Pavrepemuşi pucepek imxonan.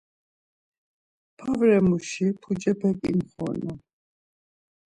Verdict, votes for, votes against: rejected, 0, 2